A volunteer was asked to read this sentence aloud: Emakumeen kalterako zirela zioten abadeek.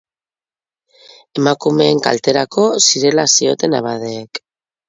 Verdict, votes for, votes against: accepted, 4, 0